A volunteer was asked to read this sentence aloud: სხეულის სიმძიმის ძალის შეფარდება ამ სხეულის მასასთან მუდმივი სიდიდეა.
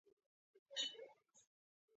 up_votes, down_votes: 0, 2